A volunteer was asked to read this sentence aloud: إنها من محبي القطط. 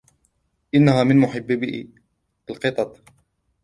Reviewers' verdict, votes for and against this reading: accepted, 2, 0